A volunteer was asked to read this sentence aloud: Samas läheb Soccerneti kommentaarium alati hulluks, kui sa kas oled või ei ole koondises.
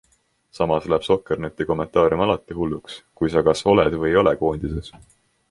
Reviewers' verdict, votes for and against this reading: accepted, 2, 0